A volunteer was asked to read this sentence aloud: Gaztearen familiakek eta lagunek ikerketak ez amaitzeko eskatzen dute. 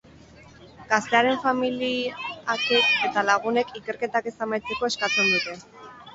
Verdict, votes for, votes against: accepted, 4, 2